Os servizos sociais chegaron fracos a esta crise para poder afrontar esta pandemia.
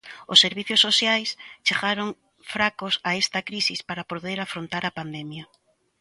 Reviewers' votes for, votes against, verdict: 0, 2, rejected